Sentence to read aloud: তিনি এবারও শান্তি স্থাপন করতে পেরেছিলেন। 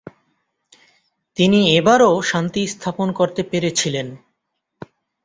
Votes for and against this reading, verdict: 2, 1, accepted